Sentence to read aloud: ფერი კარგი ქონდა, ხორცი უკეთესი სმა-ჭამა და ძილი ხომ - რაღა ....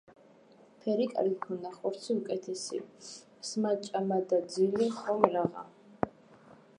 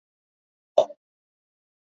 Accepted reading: first